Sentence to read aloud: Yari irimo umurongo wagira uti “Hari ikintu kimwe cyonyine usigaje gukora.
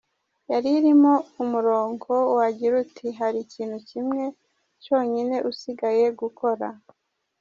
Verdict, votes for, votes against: rejected, 1, 2